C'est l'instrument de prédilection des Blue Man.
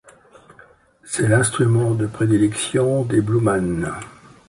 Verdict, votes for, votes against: accepted, 2, 0